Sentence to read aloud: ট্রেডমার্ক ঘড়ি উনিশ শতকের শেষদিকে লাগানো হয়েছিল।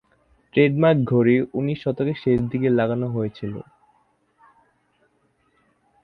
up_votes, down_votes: 2, 0